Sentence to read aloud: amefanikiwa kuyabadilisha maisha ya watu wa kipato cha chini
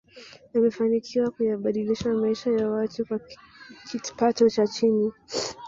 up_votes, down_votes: 1, 2